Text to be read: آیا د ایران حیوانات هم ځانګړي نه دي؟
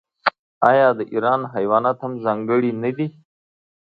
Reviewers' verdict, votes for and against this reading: accepted, 2, 0